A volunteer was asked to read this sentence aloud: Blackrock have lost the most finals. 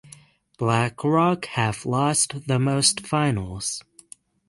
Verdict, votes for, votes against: rejected, 3, 6